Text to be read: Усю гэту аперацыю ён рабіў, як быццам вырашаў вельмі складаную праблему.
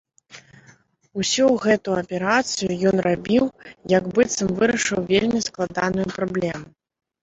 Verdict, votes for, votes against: rejected, 0, 2